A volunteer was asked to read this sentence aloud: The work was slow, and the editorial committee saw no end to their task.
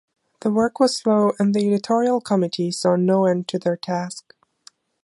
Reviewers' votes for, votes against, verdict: 2, 0, accepted